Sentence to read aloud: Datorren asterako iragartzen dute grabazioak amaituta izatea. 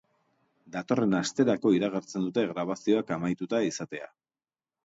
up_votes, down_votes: 2, 0